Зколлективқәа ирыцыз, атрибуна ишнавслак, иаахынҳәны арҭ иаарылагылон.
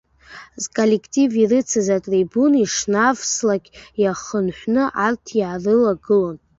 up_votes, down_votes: 1, 2